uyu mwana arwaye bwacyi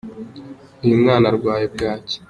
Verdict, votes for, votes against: accepted, 2, 0